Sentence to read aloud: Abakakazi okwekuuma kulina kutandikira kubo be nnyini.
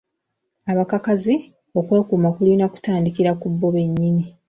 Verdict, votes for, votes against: accepted, 2, 0